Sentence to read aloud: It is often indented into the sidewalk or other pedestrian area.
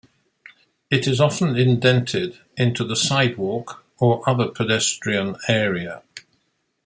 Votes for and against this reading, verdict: 2, 0, accepted